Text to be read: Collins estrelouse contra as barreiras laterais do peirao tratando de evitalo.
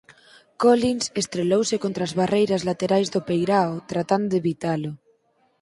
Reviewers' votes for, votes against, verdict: 2, 4, rejected